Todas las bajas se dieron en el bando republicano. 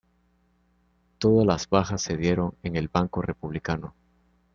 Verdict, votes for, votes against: rejected, 1, 2